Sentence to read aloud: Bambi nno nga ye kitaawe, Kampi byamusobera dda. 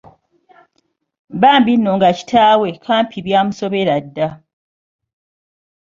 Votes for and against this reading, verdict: 1, 3, rejected